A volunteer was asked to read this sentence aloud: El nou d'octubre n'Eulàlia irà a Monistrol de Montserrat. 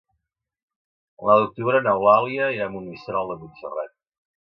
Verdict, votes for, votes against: rejected, 0, 2